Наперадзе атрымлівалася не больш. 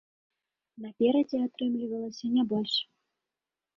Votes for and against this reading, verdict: 2, 0, accepted